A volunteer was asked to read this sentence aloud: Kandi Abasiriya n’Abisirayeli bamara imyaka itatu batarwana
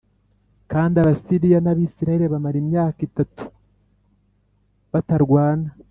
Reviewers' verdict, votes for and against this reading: accepted, 2, 0